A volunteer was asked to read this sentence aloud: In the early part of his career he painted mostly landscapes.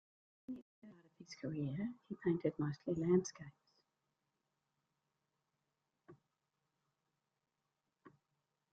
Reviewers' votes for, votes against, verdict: 0, 2, rejected